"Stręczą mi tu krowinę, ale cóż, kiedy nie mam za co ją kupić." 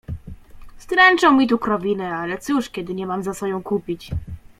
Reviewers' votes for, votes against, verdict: 2, 0, accepted